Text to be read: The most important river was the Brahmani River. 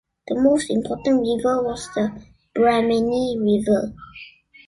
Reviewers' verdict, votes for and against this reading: accepted, 2, 0